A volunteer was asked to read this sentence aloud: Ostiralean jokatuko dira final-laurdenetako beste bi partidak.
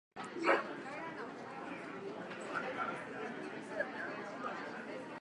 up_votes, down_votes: 0, 3